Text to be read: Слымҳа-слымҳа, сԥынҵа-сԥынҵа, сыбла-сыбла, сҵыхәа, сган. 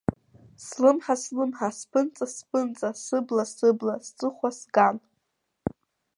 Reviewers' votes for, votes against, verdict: 2, 0, accepted